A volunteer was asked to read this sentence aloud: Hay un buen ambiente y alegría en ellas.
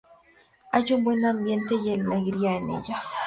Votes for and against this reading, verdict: 2, 2, rejected